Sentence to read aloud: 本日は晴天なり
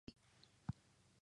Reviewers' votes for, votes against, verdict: 0, 2, rejected